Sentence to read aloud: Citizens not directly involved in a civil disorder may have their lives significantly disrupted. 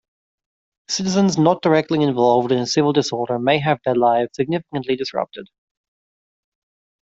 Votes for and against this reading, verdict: 2, 0, accepted